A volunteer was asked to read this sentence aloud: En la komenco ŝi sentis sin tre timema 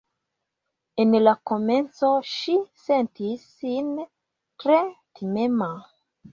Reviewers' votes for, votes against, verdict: 3, 0, accepted